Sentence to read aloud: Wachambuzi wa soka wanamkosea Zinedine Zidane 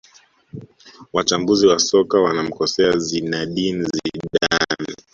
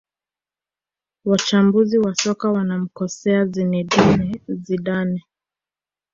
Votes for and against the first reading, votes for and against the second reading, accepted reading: 0, 2, 2, 0, second